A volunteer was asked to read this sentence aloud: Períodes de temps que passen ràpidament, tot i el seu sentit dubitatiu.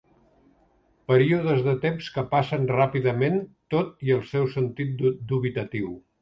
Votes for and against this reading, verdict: 0, 2, rejected